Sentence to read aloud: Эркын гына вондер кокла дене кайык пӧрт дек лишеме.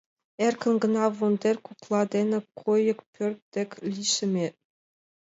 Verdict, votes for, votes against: accepted, 2, 0